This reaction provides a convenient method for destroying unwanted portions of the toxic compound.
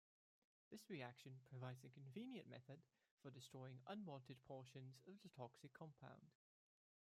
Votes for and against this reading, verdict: 1, 2, rejected